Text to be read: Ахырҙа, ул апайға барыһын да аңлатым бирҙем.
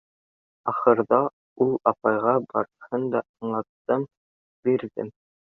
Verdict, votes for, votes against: rejected, 0, 2